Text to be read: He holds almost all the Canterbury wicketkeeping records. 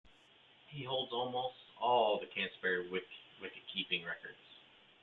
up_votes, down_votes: 1, 3